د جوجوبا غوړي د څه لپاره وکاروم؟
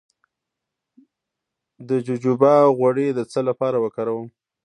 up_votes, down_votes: 2, 0